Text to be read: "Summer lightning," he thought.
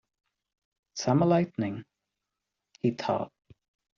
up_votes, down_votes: 2, 0